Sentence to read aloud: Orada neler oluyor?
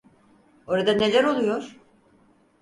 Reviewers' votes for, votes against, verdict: 4, 0, accepted